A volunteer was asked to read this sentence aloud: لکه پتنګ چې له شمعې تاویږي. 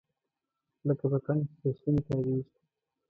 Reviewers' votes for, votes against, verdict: 1, 2, rejected